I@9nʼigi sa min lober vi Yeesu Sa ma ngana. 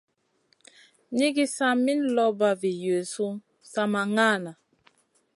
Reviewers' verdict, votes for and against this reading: rejected, 0, 2